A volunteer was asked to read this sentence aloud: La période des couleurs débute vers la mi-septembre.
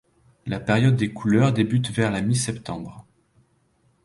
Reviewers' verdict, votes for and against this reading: accepted, 2, 0